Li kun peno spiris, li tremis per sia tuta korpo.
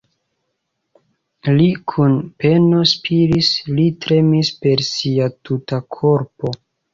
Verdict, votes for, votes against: accepted, 2, 0